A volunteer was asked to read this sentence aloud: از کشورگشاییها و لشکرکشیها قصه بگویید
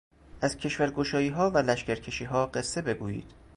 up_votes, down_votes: 2, 0